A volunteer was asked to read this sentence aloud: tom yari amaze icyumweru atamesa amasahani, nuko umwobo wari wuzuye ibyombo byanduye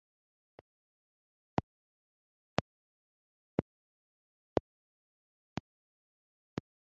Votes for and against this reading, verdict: 0, 2, rejected